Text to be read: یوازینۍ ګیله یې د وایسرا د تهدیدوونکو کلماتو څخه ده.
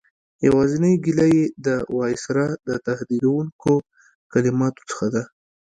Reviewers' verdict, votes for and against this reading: accepted, 2, 0